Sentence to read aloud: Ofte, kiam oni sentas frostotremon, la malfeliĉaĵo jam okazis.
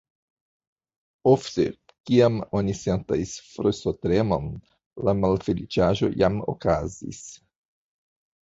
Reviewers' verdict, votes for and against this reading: accepted, 2, 0